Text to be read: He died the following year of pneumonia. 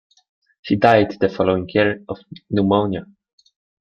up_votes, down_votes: 0, 2